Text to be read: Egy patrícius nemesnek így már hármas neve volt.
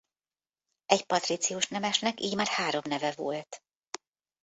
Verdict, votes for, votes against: rejected, 1, 2